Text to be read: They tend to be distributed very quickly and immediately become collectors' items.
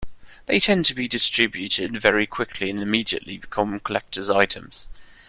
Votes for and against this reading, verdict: 2, 0, accepted